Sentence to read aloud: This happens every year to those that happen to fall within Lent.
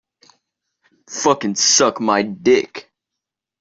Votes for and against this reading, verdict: 0, 2, rejected